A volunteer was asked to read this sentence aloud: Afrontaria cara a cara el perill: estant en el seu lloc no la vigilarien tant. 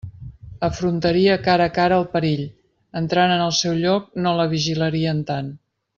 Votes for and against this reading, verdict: 1, 2, rejected